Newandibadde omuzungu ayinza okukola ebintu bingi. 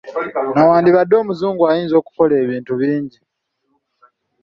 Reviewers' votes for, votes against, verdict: 2, 0, accepted